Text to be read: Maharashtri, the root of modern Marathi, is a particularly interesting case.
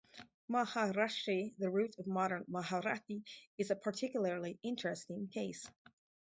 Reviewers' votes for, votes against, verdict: 0, 2, rejected